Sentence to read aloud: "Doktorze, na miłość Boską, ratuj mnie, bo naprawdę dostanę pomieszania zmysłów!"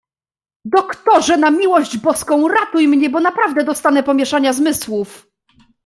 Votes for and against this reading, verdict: 2, 0, accepted